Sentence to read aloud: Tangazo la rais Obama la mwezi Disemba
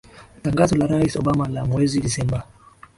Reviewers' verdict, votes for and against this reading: accepted, 2, 1